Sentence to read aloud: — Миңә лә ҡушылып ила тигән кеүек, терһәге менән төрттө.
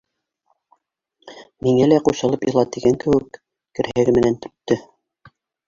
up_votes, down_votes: 0, 2